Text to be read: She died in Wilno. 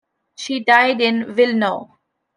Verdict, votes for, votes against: accepted, 2, 0